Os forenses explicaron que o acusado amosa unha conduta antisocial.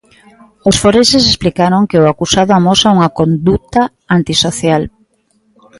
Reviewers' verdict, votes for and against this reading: accepted, 2, 0